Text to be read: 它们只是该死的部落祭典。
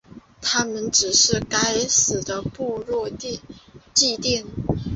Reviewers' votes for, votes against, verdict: 2, 0, accepted